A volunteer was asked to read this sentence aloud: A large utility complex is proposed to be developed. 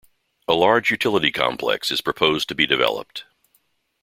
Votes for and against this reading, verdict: 2, 0, accepted